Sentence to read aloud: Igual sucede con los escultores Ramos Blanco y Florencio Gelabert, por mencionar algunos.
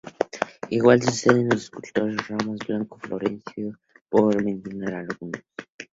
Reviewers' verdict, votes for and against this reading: accepted, 2, 0